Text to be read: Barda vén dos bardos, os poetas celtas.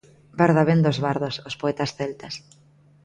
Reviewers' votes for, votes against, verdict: 2, 0, accepted